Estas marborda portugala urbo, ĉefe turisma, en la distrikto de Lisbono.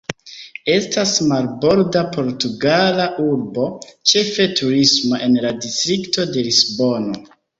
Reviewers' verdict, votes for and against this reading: rejected, 1, 2